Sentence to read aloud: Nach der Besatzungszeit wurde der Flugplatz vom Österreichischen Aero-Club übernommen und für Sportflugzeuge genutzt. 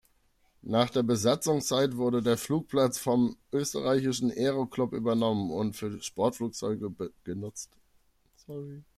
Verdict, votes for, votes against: rejected, 1, 2